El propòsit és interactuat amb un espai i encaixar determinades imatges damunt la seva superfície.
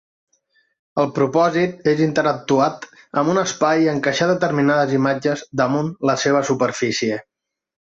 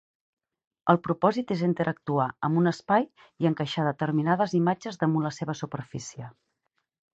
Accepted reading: first